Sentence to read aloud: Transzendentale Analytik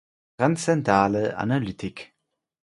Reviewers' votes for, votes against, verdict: 0, 4, rejected